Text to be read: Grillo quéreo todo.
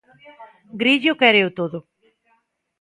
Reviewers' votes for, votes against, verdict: 2, 1, accepted